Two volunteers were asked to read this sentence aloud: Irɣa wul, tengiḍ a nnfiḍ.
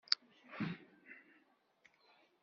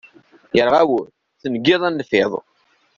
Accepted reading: second